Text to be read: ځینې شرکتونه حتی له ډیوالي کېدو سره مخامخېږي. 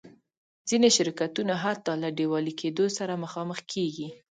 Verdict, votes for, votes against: accepted, 2, 0